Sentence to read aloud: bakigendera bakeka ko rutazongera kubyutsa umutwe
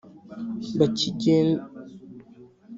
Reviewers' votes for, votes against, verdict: 1, 2, rejected